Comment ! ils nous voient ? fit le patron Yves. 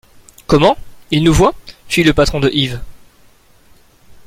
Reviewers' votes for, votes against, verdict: 0, 2, rejected